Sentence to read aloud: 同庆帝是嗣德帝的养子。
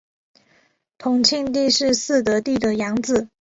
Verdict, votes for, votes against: accepted, 2, 1